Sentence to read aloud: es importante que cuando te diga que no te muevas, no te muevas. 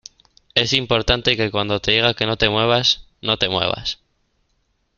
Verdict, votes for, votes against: accepted, 2, 0